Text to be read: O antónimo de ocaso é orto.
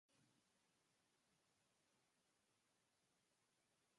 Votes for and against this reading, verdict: 0, 4, rejected